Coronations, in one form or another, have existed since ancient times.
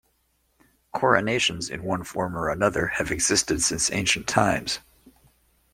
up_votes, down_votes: 2, 0